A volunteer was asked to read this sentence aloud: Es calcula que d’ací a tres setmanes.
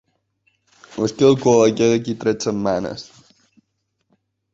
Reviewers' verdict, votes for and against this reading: rejected, 1, 2